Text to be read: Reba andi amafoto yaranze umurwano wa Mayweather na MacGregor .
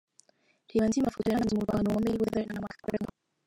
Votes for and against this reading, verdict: 0, 2, rejected